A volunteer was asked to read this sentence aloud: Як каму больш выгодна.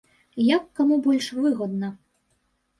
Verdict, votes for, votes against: rejected, 1, 2